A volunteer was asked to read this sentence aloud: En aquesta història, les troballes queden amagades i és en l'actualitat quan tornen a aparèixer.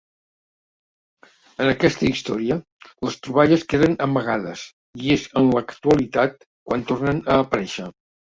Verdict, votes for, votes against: accepted, 2, 0